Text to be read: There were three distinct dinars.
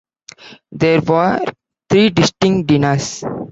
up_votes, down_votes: 1, 2